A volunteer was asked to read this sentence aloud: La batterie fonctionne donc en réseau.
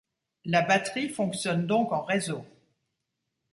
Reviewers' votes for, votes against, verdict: 2, 0, accepted